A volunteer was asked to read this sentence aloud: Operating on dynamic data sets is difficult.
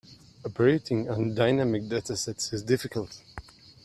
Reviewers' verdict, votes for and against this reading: accepted, 2, 0